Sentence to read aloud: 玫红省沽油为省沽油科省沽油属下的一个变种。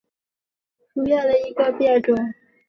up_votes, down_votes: 0, 2